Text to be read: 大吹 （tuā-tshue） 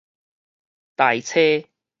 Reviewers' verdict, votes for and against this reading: rejected, 0, 4